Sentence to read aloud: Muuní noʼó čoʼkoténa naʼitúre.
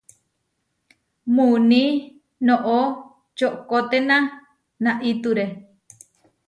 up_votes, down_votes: 2, 0